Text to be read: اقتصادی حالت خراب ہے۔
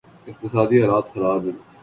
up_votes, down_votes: 1, 2